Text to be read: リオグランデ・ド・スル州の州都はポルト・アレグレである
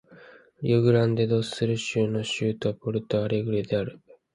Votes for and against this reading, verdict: 0, 2, rejected